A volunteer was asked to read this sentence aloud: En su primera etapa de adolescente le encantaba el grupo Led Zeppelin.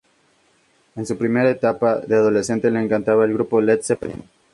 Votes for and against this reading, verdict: 2, 0, accepted